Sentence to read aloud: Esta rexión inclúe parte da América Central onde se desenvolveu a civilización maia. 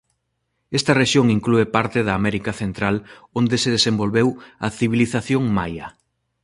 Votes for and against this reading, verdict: 2, 0, accepted